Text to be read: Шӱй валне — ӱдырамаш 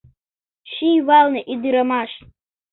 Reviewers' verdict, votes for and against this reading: rejected, 1, 2